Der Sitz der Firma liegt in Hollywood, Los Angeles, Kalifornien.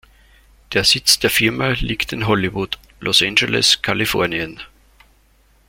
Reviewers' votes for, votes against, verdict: 2, 0, accepted